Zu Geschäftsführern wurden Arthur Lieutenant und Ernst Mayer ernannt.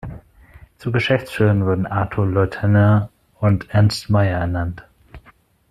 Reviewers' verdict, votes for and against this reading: rejected, 0, 2